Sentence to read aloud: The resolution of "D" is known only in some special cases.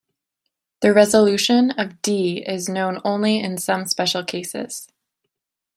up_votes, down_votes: 2, 0